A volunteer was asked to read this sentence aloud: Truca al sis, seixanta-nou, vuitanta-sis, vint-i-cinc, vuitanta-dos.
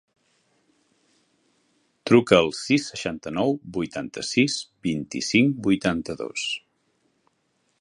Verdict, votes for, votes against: accepted, 4, 0